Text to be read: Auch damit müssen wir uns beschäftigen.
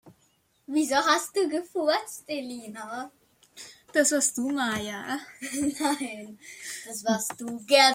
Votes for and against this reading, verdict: 0, 2, rejected